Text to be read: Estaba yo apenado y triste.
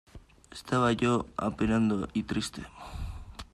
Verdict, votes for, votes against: rejected, 0, 2